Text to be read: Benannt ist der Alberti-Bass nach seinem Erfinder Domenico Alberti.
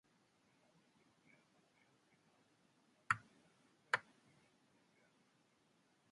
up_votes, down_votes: 0, 2